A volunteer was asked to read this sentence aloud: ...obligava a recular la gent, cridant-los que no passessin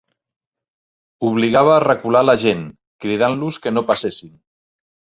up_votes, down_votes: 4, 0